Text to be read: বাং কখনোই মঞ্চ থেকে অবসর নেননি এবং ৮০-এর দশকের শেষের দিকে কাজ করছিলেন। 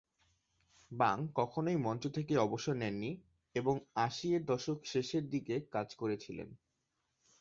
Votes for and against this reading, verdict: 0, 2, rejected